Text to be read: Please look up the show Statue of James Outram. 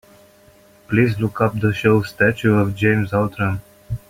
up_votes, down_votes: 2, 1